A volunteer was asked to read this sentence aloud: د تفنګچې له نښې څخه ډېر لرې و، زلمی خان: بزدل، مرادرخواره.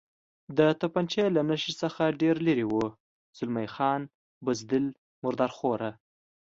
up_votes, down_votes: 2, 0